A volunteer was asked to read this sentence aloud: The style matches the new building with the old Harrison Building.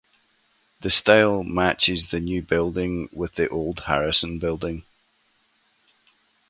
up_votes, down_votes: 2, 2